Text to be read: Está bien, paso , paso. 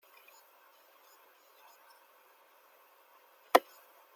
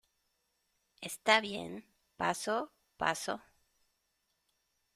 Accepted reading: second